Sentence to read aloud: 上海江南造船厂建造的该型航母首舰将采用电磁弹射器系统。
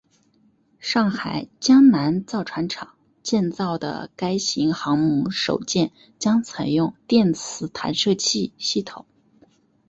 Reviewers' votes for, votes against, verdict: 2, 0, accepted